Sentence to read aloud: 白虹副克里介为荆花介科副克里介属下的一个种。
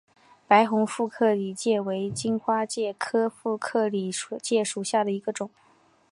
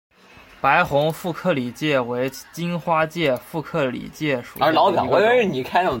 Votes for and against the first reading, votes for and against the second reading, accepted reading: 2, 0, 0, 2, first